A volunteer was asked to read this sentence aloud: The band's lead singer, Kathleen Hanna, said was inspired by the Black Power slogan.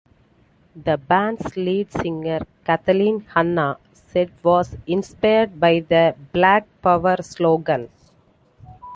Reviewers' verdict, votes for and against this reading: accepted, 3, 1